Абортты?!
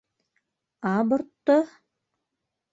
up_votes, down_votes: 0, 2